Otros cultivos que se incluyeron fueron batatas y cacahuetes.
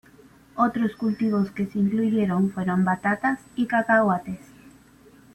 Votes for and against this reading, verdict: 2, 0, accepted